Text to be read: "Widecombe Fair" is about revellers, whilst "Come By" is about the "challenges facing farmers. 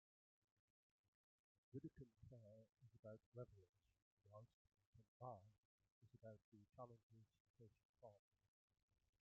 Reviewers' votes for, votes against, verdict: 0, 2, rejected